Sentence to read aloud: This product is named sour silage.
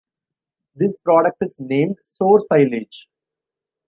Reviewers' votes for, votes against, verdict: 2, 1, accepted